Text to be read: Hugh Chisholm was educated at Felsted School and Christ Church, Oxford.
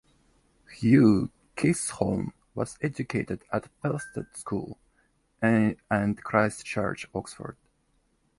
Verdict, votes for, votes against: rejected, 0, 2